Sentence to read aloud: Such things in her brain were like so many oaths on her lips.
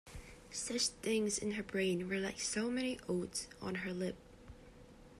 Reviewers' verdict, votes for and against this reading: rejected, 1, 2